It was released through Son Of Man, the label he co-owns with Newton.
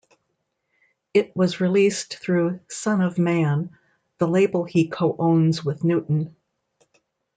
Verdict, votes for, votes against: accepted, 2, 0